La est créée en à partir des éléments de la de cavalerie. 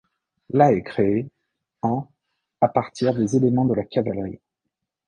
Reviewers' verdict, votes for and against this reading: rejected, 1, 2